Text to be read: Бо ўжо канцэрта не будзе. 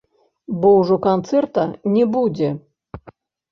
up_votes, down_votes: 1, 2